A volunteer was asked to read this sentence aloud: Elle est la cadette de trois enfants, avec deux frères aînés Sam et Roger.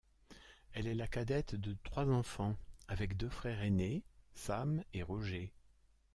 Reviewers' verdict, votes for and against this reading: accepted, 2, 0